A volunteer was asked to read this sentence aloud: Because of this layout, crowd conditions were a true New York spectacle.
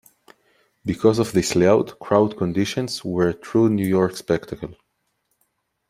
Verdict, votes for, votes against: accepted, 2, 0